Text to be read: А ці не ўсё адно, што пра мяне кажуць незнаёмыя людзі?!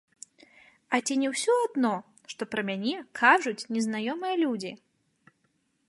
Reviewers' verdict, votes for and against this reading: accepted, 2, 0